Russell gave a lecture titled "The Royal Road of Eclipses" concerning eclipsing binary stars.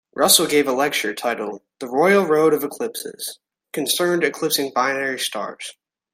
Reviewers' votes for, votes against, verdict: 0, 2, rejected